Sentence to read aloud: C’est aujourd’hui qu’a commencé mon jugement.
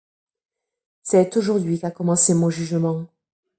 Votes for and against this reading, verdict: 3, 0, accepted